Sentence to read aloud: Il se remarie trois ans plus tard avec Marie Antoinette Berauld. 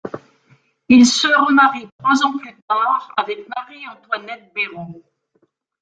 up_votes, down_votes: 1, 2